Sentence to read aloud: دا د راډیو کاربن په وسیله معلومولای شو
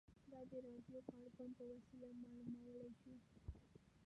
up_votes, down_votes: 1, 2